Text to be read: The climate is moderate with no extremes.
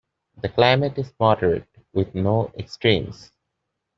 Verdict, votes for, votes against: accepted, 2, 0